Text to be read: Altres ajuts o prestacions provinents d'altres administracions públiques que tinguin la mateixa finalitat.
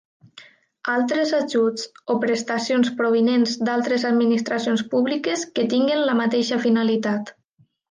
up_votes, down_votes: 2, 0